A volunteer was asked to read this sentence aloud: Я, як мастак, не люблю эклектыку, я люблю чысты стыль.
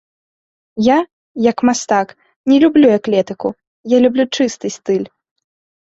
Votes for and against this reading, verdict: 2, 3, rejected